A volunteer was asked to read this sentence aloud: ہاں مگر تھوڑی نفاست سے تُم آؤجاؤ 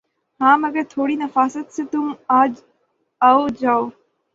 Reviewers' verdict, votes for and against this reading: rejected, 3, 3